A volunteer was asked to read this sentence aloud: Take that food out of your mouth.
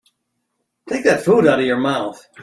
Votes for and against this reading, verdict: 2, 0, accepted